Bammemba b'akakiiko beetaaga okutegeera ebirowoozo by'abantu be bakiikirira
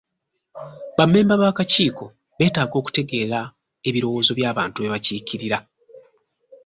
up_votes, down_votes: 2, 0